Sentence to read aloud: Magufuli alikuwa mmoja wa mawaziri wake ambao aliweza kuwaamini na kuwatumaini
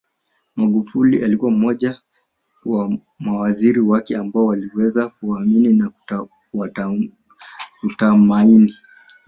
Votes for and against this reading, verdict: 2, 3, rejected